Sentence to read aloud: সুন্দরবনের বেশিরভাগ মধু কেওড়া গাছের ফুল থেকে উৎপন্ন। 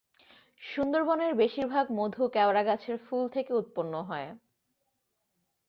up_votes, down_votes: 1, 3